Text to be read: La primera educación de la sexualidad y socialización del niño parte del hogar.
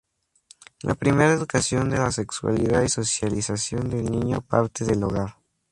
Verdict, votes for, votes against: accepted, 2, 0